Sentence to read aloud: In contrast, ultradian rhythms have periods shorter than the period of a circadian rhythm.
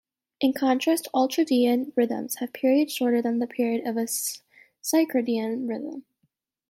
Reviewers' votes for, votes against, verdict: 1, 2, rejected